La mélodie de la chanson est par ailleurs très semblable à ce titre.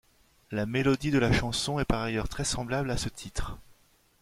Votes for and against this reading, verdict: 2, 0, accepted